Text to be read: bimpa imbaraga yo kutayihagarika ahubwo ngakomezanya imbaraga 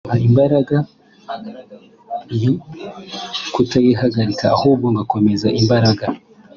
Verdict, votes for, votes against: rejected, 0, 2